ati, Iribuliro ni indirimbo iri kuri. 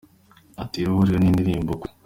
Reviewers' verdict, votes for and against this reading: accepted, 2, 1